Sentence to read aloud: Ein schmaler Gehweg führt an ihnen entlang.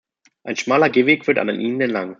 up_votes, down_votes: 0, 2